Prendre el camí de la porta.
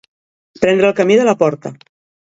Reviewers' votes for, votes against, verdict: 2, 0, accepted